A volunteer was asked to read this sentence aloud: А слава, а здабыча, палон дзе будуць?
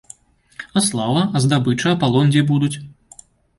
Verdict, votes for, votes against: rejected, 0, 2